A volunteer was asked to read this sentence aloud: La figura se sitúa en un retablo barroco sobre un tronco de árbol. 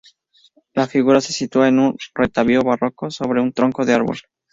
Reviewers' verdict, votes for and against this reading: accepted, 2, 0